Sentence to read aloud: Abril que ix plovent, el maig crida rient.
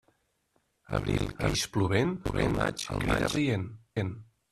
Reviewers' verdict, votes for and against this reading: rejected, 0, 2